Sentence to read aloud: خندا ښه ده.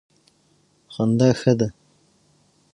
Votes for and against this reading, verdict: 6, 3, accepted